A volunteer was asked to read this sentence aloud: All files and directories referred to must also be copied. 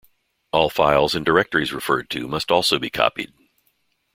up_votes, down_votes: 2, 0